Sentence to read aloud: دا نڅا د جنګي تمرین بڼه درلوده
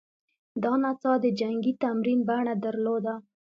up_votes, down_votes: 2, 0